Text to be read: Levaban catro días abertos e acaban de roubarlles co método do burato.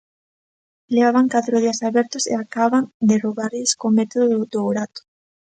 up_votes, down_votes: 0, 2